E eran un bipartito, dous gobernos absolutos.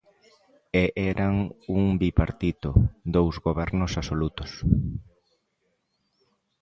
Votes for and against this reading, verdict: 2, 0, accepted